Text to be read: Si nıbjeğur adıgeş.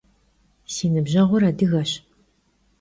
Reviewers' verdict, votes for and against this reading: accepted, 2, 0